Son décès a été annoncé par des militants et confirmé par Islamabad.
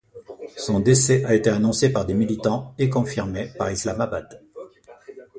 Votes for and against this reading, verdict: 2, 0, accepted